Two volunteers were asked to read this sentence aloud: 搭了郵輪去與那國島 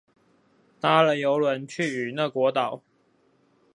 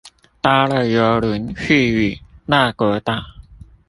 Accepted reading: first